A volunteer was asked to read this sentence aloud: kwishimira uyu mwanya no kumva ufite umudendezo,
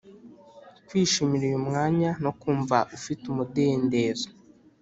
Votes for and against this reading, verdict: 2, 0, accepted